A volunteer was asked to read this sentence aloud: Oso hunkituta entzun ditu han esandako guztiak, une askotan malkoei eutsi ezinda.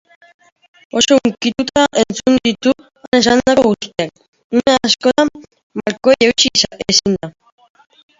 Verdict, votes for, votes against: rejected, 0, 2